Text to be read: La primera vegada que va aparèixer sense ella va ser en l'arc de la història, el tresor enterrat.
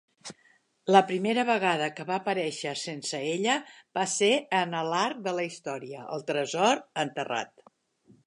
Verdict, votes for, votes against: accepted, 2, 1